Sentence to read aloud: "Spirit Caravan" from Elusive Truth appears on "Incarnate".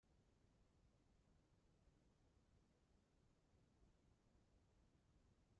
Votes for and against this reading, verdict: 0, 2, rejected